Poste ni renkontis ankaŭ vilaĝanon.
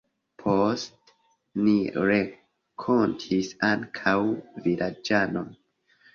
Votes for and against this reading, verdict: 0, 2, rejected